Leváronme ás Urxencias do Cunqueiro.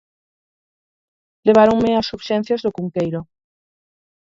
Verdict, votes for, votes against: accepted, 4, 0